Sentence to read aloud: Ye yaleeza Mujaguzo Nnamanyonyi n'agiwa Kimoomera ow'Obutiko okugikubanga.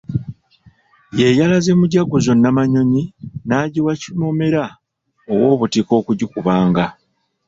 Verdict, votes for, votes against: rejected, 1, 2